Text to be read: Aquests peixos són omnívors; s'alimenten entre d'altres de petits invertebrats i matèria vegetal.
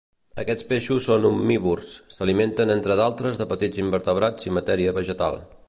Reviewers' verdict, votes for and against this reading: accepted, 2, 0